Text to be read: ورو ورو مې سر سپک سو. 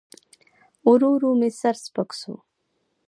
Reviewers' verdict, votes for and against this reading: rejected, 1, 2